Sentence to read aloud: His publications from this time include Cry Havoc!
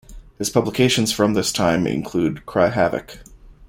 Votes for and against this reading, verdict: 2, 0, accepted